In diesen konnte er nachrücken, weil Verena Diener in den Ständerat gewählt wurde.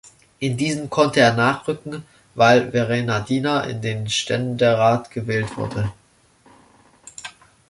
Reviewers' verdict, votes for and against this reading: accepted, 2, 0